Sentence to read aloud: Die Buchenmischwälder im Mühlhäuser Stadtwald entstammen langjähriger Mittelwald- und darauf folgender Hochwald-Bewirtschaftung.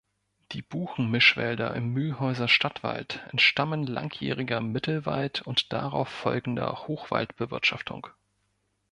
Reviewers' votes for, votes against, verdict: 2, 0, accepted